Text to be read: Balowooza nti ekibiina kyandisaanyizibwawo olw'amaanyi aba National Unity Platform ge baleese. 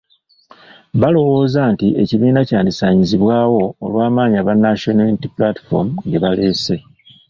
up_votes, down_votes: 2, 0